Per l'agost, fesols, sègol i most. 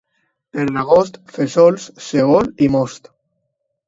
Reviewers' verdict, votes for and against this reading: rejected, 1, 2